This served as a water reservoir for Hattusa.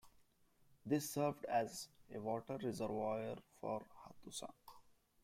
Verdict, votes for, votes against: rejected, 1, 2